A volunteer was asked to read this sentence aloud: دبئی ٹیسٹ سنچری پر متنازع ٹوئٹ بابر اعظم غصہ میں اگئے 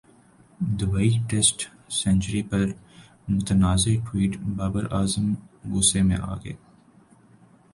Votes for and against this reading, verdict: 3, 1, accepted